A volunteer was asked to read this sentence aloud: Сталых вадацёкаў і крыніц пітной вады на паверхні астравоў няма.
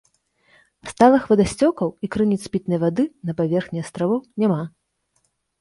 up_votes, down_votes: 0, 2